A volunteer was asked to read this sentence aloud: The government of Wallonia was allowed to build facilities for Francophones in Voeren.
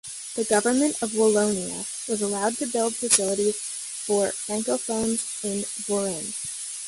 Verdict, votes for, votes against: rejected, 1, 2